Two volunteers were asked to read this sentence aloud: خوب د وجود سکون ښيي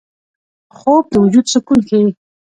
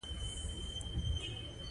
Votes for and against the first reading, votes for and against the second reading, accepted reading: 2, 0, 1, 2, first